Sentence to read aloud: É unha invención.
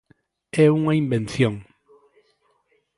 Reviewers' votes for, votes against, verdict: 2, 0, accepted